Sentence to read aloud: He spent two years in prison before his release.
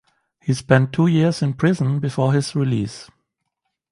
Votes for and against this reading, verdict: 2, 1, accepted